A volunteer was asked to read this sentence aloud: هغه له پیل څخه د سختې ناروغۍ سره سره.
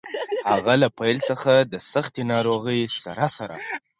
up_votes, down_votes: 0, 4